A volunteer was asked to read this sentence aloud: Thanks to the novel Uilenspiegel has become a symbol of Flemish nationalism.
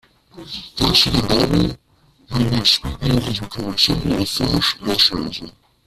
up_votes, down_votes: 0, 2